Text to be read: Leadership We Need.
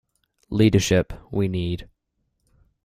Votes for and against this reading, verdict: 2, 0, accepted